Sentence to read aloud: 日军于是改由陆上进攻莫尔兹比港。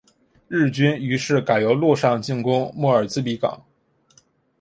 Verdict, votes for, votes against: accepted, 2, 1